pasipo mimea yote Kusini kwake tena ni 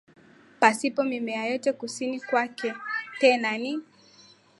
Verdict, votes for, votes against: accepted, 8, 3